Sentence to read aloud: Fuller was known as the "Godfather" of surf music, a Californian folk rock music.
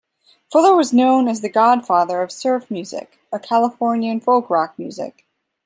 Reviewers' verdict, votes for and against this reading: accepted, 2, 0